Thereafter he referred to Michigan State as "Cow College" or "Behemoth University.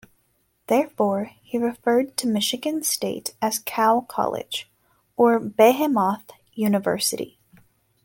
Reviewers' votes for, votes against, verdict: 0, 2, rejected